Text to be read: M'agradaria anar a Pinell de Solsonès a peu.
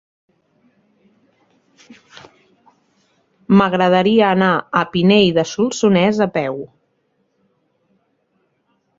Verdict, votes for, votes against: rejected, 1, 2